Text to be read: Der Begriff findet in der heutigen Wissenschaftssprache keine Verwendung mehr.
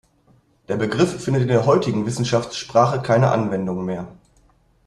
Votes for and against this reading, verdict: 0, 2, rejected